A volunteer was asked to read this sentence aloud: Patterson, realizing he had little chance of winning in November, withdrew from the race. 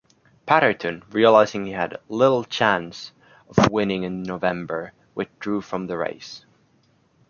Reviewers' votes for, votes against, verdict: 0, 2, rejected